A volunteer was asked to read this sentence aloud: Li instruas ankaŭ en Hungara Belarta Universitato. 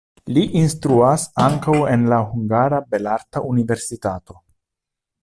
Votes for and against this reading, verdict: 1, 2, rejected